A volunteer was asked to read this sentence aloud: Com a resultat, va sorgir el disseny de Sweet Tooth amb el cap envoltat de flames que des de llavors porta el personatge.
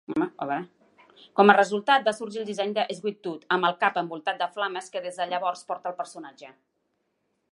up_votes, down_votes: 0, 2